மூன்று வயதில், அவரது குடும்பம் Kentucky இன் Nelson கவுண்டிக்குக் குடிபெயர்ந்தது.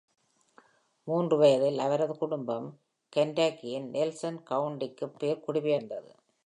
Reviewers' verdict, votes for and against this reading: rejected, 1, 2